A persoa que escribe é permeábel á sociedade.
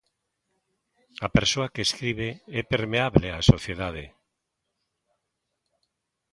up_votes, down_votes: 1, 2